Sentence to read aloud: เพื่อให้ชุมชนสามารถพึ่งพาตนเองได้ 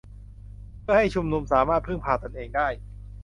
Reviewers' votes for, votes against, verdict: 0, 2, rejected